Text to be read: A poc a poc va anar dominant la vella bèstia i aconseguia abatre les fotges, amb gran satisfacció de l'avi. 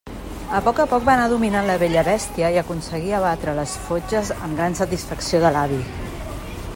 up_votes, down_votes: 3, 0